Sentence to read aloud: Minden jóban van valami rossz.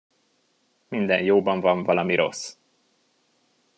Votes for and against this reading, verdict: 2, 0, accepted